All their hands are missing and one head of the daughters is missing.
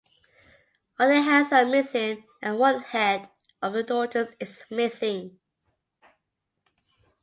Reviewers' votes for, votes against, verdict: 2, 0, accepted